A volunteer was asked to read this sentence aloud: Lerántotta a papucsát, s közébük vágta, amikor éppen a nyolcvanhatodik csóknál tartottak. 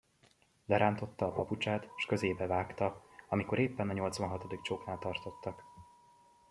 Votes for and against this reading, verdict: 0, 2, rejected